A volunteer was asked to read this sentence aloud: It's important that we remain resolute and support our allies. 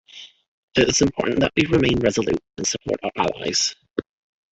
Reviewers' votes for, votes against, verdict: 2, 3, rejected